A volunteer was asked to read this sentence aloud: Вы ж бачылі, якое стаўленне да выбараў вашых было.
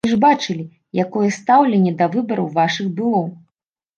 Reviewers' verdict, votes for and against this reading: rejected, 0, 2